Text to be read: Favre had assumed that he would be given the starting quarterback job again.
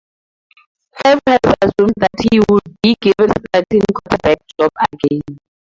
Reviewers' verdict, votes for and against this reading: rejected, 0, 4